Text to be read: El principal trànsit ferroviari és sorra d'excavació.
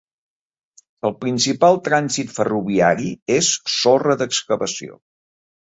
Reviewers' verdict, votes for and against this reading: accepted, 3, 0